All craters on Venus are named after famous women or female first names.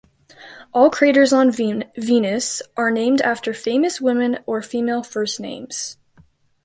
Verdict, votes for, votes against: rejected, 1, 2